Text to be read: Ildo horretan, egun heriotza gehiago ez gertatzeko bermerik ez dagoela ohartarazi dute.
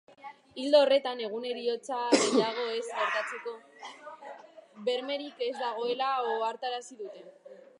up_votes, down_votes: 0, 5